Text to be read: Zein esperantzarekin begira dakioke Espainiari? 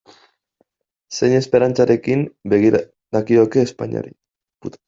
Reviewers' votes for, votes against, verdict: 1, 2, rejected